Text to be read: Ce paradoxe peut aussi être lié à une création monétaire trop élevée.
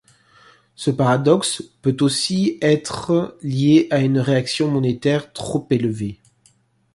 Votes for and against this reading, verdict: 1, 2, rejected